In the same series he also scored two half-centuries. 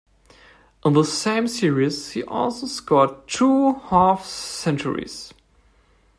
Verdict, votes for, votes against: rejected, 1, 2